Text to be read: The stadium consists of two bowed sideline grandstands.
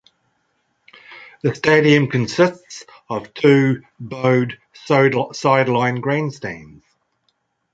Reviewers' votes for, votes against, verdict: 2, 0, accepted